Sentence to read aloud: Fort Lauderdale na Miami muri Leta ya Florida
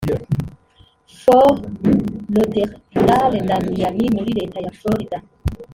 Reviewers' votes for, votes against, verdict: 2, 1, accepted